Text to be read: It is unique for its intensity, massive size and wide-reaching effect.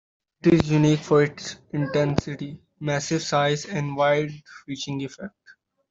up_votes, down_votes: 2, 1